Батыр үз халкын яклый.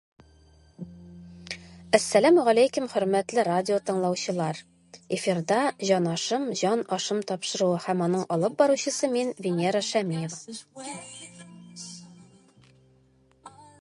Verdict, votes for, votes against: rejected, 0, 2